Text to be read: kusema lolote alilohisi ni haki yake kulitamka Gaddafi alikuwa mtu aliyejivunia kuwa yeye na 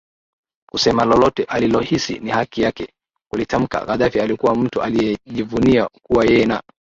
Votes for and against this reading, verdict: 2, 0, accepted